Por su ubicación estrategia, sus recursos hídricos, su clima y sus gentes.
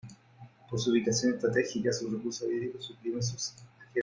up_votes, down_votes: 2, 4